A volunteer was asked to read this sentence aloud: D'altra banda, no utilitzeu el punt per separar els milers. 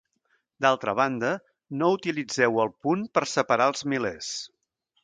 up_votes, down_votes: 3, 0